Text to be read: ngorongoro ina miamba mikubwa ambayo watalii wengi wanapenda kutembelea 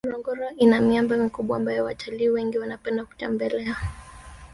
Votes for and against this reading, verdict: 3, 0, accepted